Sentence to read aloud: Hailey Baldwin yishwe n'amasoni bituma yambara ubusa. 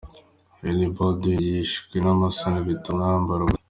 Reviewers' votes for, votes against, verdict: 0, 2, rejected